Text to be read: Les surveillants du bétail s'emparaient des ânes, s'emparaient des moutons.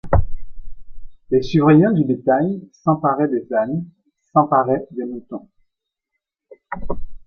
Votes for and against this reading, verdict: 2, 0, accepted